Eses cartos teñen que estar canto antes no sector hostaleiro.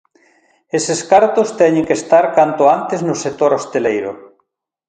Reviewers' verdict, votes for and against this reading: rejected, 1, 2